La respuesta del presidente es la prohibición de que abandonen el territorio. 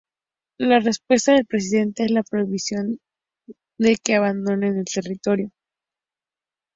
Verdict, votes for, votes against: rejected, 0, 2